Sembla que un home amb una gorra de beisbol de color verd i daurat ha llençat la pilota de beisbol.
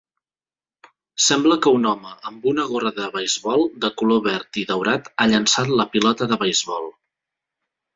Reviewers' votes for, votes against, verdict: 2, 0, accepted